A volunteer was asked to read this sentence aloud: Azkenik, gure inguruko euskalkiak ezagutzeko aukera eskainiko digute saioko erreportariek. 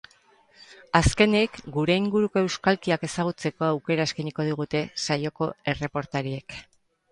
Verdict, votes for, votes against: accepted, 2, 0